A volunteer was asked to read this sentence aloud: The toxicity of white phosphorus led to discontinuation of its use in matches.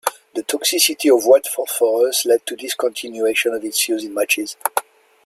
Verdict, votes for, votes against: accepted, 2, 0